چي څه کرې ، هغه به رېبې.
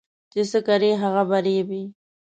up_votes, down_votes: 2, 0